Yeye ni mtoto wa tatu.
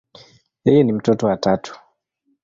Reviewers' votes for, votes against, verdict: 2, 0, accepted